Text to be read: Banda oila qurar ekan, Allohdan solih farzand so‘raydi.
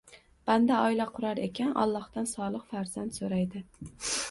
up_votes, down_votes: 2, 0